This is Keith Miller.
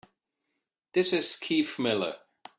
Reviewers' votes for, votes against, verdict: 2, 0, accepted